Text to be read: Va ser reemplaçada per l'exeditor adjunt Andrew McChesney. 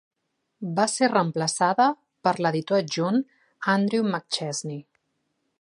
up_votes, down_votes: 1, 2